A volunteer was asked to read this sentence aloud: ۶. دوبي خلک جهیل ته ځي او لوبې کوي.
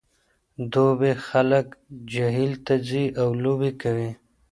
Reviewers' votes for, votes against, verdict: 0, 2, rejected